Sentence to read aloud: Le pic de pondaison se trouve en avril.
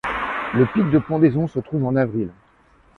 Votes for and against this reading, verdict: 1, 2, rejected